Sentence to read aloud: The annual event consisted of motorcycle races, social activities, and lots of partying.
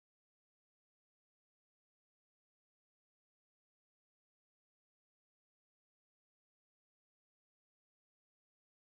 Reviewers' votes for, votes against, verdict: 0, 2, rejected